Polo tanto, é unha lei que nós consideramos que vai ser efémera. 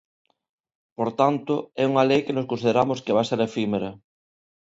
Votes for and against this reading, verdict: 1, 2, rejected